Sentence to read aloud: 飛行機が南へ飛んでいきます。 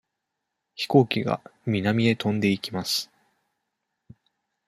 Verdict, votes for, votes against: accepted, 2, 0